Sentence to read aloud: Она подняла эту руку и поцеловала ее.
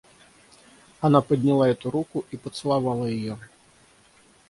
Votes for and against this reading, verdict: 3, 0, accepted